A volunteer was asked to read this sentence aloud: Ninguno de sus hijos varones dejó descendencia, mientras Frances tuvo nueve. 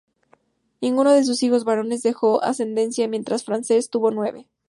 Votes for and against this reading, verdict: 0, 2, rejected